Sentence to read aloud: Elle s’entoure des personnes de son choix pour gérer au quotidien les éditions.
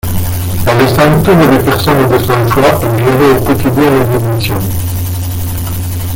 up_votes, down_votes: 0, 2